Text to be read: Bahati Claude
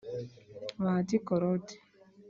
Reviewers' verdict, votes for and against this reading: accepted, 3, 0